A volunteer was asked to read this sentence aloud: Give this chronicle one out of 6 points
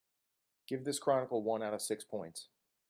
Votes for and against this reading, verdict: 0, 2, rejected